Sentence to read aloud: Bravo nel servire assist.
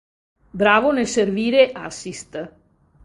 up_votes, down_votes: 2, 0